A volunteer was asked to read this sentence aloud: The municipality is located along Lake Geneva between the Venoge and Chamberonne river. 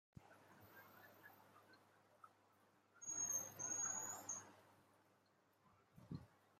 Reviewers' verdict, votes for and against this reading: rejected, 0, 2